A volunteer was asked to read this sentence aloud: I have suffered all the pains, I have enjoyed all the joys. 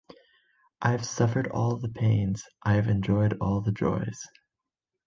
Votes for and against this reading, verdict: 2, 0, accepted